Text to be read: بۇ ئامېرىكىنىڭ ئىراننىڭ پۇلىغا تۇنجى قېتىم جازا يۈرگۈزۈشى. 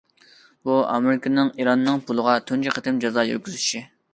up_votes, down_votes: 2, 0